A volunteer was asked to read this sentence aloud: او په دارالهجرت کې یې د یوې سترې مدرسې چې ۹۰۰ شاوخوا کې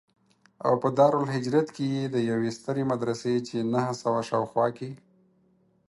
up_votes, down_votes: 0, 2